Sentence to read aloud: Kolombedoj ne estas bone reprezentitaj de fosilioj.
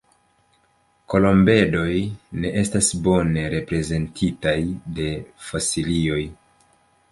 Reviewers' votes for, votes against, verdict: 1, 2, rejected